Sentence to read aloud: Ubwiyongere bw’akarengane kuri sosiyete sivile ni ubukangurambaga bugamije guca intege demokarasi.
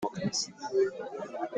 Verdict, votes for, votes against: rejected, 0, 3